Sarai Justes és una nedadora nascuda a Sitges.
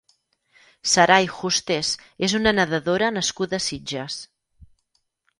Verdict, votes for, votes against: accepted, 6, 2